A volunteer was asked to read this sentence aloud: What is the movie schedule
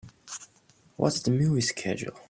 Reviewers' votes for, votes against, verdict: 0, 2, rejected